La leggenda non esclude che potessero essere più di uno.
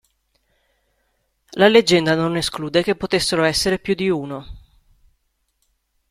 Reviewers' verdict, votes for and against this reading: accepted, 2, 1